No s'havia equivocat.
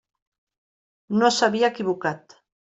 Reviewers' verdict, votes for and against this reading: accepted, 3, 0